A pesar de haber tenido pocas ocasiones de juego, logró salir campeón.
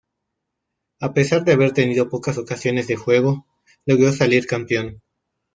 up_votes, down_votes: 2, 1